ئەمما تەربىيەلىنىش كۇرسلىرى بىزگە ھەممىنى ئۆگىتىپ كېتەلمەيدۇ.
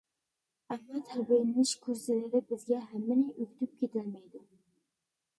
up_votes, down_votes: 0, 2